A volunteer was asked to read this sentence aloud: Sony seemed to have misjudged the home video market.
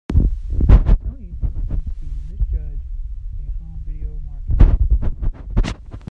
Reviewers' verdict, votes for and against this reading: rejected, 0, 2